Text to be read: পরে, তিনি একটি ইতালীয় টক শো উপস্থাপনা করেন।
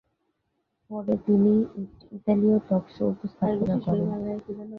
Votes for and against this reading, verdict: 0, 2, rejected